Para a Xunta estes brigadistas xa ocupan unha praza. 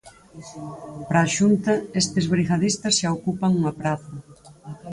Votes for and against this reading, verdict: 0, 4, rejected